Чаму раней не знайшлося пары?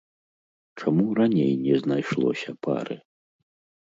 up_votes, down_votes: 2, 0